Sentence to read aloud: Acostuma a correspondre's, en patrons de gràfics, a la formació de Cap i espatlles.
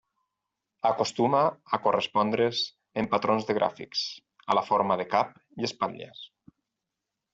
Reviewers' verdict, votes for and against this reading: rejected, 0, 4